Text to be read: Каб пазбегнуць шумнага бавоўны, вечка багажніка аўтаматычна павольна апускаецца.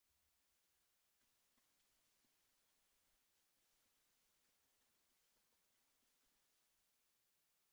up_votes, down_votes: 0, 2